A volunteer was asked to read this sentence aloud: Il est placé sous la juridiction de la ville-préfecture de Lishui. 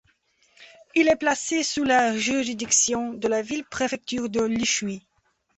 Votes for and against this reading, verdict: 2, 0, accepted